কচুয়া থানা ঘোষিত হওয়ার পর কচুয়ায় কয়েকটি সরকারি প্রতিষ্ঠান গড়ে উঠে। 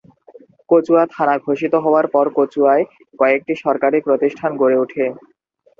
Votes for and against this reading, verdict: 2, 0, accepted